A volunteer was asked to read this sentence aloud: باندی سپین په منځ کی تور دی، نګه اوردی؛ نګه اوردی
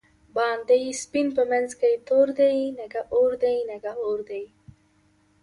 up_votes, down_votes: 2, 0